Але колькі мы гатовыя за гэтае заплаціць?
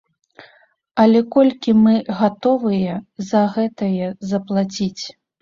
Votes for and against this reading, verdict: 2, 0, accepted